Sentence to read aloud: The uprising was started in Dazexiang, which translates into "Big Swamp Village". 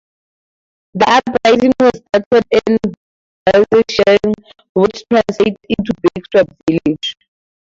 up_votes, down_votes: 0, 4